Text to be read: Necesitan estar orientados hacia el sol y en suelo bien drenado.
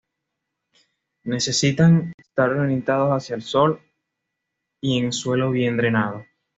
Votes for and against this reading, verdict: 2, 0, accepted